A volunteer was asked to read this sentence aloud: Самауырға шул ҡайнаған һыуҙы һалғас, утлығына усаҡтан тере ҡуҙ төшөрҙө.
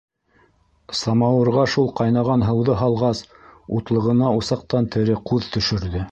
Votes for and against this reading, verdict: 2, 0, accepted